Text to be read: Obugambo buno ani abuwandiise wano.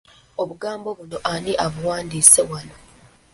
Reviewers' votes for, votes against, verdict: 1, 2, rejected